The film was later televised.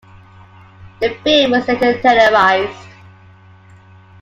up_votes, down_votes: 2, 0